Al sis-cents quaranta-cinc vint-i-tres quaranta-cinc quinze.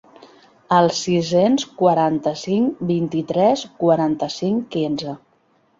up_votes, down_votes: 0, 2